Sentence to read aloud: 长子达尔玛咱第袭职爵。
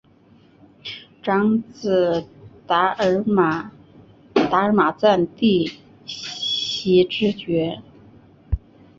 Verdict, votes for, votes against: rejected, 0, 2